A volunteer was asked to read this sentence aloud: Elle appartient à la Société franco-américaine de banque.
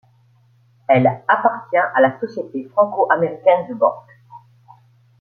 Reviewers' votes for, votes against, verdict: 2, 0, accepted